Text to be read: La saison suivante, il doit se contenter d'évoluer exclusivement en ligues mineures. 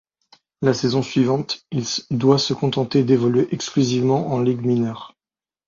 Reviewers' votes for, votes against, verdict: 0, 2, rejected